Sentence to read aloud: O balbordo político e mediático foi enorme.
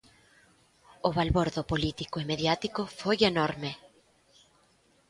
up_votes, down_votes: 1, 2